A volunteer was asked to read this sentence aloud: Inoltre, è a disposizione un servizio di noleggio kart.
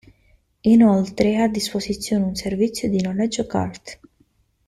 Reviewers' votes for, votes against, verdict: 2, 0, accepted